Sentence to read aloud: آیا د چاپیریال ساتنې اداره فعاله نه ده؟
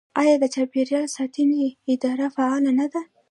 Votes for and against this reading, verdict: 2, 1, accepted